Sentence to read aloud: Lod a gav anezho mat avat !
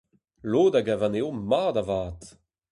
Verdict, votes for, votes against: accepted, 2, 0